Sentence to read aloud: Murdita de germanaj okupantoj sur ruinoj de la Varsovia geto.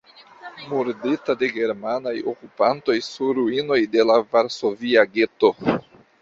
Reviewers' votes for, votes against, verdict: 1, 2, rejected